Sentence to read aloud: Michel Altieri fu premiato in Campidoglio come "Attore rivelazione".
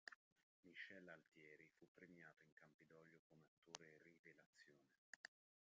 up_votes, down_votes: 0, 2